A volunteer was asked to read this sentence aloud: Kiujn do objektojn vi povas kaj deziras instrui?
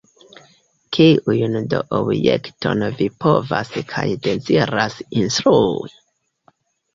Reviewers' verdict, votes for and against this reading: rejected, 0, 2